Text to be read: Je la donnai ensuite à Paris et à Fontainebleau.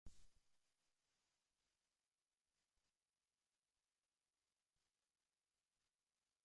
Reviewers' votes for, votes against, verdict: 0, 2, rejected